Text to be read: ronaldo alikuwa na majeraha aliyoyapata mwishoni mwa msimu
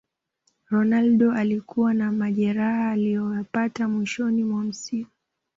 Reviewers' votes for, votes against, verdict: 1, 2, rejected